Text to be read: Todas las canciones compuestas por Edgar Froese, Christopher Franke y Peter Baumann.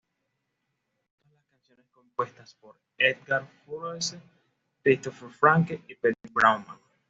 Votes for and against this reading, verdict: 1, 2, rejected